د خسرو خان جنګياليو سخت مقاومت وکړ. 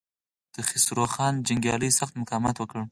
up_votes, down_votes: 2, 4